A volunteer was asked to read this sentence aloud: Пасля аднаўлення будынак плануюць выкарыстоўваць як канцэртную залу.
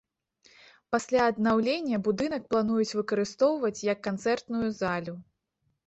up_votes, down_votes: 1, 2